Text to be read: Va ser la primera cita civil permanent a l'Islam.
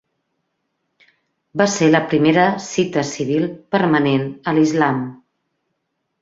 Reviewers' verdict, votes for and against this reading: accepted, 3, 0